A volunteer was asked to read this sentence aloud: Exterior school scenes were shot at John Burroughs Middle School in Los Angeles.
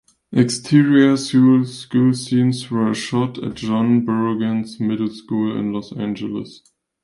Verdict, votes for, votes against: rejected, 0, 2